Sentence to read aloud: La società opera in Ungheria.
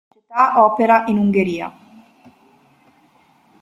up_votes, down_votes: 0, 2